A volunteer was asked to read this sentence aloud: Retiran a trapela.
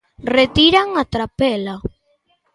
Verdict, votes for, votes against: accepted, 2, 0